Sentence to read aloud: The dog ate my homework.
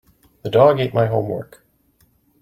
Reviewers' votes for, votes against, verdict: 2, 0, accepted